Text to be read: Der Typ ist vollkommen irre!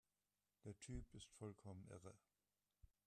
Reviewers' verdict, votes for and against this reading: accepted, 2, 0